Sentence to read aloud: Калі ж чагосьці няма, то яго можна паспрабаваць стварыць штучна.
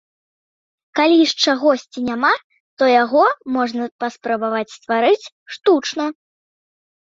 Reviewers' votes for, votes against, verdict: 2, 0, accepted